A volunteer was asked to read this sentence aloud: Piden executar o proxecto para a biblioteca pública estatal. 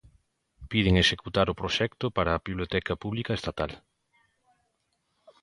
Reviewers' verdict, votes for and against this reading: accepted, 2, 0